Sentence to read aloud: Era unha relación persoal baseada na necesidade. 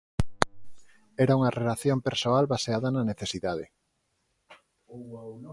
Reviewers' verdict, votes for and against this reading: accepted, 4, 2